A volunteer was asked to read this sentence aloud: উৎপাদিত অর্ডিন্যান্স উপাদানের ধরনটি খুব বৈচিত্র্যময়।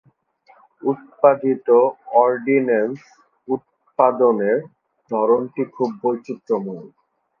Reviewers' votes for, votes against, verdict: 3, 4, rejected